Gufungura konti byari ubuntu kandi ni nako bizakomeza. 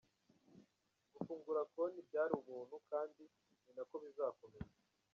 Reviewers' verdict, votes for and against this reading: rejected, 1, 2